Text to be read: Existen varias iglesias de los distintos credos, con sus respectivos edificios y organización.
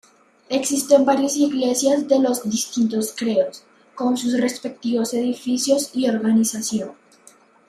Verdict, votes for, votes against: accepted, 2, 1